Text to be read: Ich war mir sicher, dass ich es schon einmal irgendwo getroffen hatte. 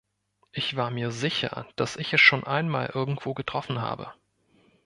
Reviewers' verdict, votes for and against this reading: rejected, 0, 2